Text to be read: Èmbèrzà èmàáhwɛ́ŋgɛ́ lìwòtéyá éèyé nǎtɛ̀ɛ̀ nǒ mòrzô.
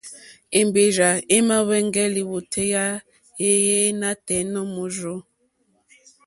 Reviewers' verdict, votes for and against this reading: accepted, 2, 0